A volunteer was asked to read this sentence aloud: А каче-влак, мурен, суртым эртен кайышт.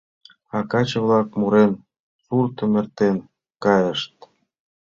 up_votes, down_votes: 2, 0